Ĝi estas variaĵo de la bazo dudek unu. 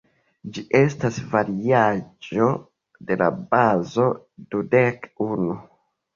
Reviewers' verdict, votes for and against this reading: rejected, 1, 2